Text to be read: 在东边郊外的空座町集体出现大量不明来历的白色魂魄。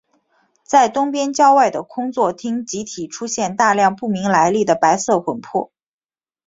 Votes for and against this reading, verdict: 3, 0, accepted